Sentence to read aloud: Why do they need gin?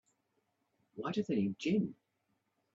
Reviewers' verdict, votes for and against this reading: rejected, 0, 4